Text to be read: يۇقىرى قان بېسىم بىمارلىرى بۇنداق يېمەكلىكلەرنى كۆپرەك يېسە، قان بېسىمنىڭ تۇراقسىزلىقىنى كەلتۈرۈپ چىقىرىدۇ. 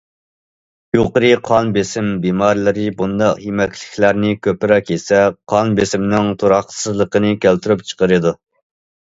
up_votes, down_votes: 2, 0